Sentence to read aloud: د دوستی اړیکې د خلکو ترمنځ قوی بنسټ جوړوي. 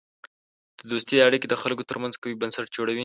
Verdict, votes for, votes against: rejected, 1, 2